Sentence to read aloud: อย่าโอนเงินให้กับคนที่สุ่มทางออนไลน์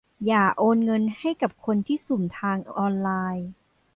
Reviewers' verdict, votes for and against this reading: accepted, 2, 0